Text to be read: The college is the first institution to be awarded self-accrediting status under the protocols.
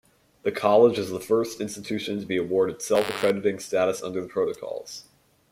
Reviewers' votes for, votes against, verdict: 1, 2, rejected